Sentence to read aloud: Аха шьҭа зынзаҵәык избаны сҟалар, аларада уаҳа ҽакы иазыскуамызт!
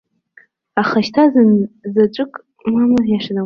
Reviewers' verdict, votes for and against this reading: rejected, 0, 2